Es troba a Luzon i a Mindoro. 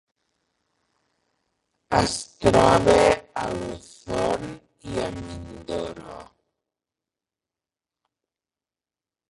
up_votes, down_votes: 0, 3